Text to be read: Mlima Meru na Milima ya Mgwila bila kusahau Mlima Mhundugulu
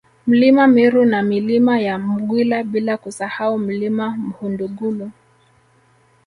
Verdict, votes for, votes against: accepted, 2, 0